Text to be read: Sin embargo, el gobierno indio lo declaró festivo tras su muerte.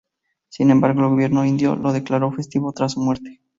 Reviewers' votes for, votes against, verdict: 2, 2, rejected